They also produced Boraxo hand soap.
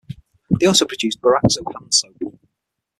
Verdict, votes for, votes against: accepted, 6, 0